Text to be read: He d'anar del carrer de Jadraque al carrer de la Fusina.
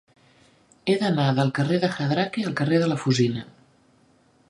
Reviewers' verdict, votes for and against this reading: accepted, 3, 0